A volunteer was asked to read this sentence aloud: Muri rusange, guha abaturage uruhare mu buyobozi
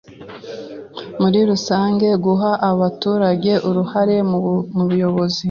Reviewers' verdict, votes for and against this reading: rejected, 1, 2